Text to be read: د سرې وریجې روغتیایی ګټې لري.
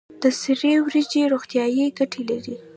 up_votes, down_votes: 1, 2